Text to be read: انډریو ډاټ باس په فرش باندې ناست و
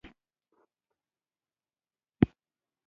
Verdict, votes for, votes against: rejected, 0, 3